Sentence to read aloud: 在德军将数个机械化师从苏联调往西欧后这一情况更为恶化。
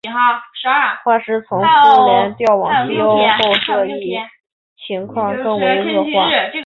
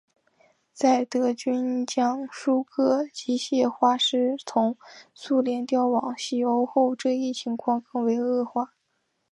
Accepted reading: second